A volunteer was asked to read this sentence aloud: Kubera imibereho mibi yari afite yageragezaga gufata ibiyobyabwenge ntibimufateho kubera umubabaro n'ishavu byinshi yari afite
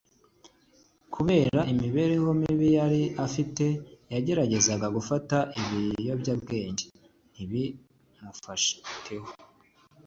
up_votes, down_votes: 0, 2